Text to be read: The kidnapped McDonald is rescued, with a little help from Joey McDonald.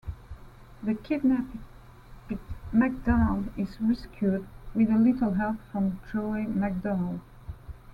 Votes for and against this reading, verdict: 2, 0, accepted